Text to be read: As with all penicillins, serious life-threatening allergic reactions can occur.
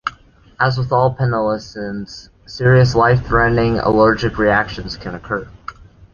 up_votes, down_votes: 0, 2